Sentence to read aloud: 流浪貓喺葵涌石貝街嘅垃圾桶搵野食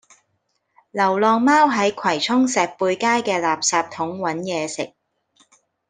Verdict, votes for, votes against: accepted, 2, 0